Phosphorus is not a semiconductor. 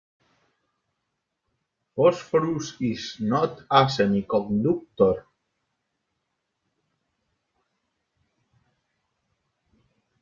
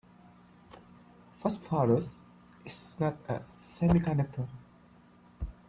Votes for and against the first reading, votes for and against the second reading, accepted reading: 0, 2, 2, 0, second